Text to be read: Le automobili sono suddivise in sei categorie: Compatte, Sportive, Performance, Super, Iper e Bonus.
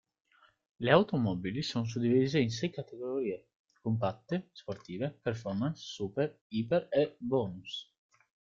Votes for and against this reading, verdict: 4, 1, accepted